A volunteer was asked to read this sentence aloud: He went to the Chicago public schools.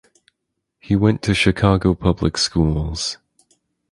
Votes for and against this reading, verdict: 2, 4, rejected